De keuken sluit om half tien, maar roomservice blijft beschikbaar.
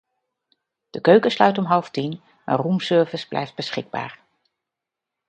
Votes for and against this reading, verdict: 2, 0, accepted